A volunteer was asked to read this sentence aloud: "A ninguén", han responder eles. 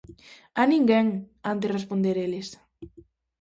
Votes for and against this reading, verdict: 0, 2, rejected